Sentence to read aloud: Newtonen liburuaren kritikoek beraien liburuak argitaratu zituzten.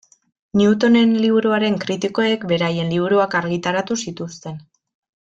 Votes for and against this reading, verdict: 2, 0, accepted